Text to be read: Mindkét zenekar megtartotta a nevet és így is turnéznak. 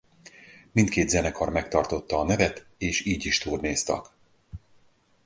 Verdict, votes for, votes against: rejected, 2, 2